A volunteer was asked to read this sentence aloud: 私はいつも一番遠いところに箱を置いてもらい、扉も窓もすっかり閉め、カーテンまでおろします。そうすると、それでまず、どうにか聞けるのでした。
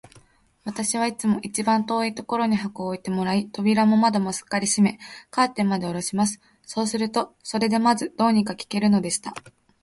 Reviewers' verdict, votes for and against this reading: rejected, 0, 2